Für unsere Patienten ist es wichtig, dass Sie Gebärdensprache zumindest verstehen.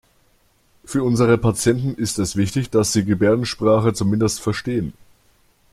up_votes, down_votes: 4, 0